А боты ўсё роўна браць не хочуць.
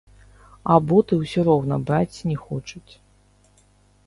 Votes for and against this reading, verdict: 0, 2, rejected